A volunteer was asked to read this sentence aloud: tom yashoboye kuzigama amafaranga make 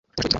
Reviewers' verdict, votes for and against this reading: rejected, 1, 2